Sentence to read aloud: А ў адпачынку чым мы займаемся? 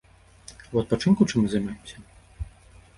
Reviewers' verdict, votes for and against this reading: rejected, 1, 2